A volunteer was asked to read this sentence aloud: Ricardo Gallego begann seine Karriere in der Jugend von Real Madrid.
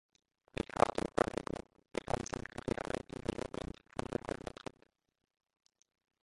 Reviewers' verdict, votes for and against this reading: rejected, 0, 2